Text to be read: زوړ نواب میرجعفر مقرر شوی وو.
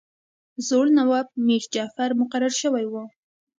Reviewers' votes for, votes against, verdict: 1, 2, rejected